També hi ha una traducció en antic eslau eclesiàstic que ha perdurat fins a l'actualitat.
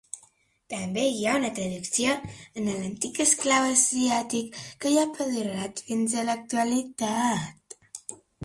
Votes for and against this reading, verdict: 0, 2, rejected